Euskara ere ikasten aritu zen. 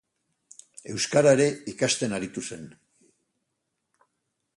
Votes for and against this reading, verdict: 2, 0, accepted